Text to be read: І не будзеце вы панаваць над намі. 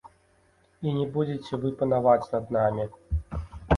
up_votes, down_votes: 2, 0